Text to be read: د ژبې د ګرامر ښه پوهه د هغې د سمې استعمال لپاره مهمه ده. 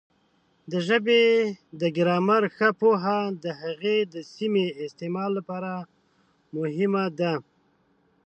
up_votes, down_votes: 0, 2